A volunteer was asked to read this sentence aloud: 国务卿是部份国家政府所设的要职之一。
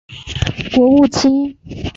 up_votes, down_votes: 1, 2